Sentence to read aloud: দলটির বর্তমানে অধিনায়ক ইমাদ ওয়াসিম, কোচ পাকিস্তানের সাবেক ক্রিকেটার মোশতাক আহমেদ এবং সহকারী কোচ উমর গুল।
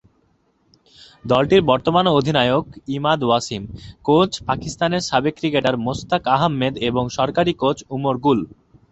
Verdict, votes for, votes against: rejected, 2, 2